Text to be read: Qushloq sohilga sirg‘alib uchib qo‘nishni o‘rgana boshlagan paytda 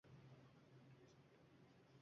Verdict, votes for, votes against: rejected, 0, 2